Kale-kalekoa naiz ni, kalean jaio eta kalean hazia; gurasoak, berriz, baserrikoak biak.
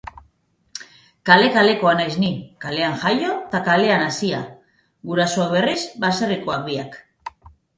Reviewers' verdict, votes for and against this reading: accepted, 2, 1